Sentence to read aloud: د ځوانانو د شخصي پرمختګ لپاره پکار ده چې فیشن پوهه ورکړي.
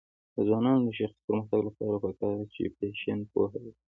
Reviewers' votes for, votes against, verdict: 2, 0, accepted